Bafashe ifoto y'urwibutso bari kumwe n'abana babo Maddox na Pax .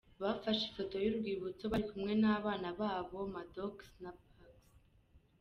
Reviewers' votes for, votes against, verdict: 2, 0, accepted